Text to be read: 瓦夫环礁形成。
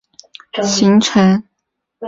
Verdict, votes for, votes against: rejected, 1, 3